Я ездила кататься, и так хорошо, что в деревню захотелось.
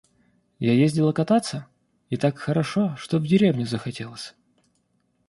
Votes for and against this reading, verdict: 0, 2, rejected